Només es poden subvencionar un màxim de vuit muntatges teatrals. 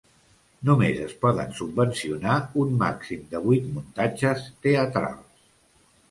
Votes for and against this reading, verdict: 2, 0, accepted